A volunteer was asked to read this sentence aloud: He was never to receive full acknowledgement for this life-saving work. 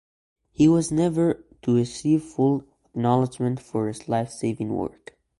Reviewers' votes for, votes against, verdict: 2, 0, accepted